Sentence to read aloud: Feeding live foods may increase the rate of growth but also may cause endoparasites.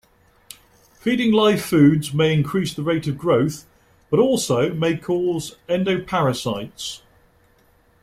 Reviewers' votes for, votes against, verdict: 2, 0, accepted